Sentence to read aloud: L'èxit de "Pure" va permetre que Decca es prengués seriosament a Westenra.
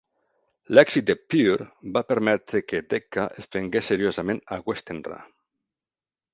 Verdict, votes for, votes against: accepted, 2, 0